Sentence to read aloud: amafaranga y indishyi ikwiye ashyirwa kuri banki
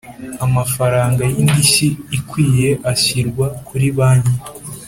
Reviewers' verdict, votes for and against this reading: accepted, 2, 0